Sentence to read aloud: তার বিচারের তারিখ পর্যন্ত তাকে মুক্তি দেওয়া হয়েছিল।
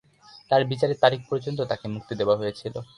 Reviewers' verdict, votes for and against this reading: accepted, 2, 0